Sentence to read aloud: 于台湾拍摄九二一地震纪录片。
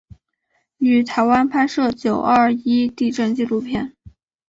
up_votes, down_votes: 2, 1